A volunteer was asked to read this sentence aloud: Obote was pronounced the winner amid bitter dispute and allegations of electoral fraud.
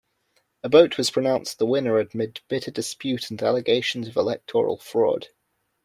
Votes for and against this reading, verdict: 1, 2, rejected